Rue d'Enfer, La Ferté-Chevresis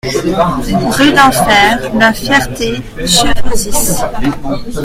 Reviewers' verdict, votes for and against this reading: rejected, 0, 2